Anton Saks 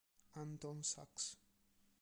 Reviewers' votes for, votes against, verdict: 1, 2, rejected